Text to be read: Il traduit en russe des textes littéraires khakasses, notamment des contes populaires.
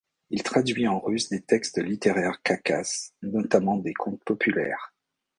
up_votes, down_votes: 2, 0